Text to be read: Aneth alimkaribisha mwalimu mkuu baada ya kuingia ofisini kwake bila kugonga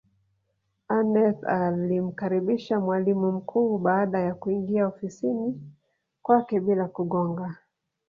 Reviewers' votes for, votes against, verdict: 3, 1, accepted